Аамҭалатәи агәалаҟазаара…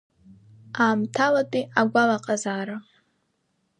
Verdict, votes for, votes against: accepted, 2, 0